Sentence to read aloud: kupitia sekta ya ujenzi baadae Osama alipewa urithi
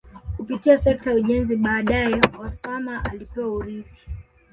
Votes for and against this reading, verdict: 2, 1, accepted